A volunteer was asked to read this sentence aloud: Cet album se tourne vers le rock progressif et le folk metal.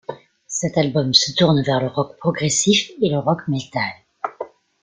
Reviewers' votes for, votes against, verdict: 0, 2, rejected